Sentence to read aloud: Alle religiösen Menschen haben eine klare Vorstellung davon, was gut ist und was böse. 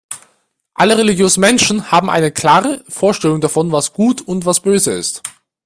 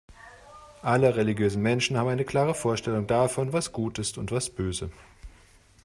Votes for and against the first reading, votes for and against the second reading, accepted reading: 0, 2, 2, 0, second